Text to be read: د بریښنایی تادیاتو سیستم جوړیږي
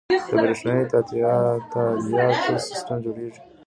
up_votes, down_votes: 0, 2